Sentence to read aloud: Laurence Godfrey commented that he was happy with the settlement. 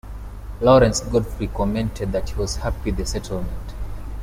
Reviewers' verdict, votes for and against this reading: rejected, 1, 2